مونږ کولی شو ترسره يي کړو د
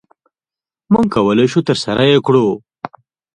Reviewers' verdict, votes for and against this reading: rejected, 1, 2